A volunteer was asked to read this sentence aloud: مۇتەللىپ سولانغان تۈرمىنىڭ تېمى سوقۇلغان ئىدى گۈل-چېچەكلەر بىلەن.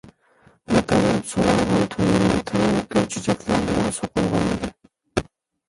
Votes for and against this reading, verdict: 0, 2, rejected